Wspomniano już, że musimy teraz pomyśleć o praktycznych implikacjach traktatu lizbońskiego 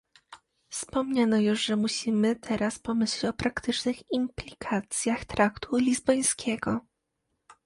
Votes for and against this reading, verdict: 1, 2, rejected